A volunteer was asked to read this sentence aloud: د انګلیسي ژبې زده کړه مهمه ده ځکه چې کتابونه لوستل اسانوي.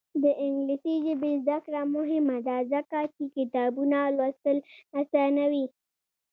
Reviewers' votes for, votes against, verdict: 2, 0, accepted